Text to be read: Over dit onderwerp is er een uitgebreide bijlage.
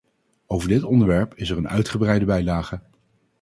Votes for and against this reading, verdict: 2, 2, rejected